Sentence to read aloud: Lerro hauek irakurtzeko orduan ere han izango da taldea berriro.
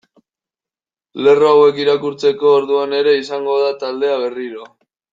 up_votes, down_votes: 0, 2